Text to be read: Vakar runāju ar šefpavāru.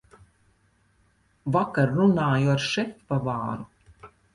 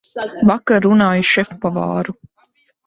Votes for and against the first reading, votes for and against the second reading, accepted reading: 4, 0, 2, 4, first